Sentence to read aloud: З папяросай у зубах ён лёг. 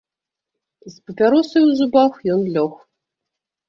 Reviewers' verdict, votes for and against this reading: accepted, 2, 0